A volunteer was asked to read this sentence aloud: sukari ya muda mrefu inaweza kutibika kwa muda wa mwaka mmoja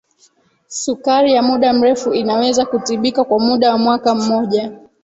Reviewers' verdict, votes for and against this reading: rejected, 0, 2